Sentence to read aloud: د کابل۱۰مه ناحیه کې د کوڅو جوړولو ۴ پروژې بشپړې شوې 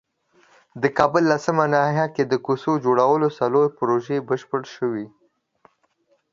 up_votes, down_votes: 0, 2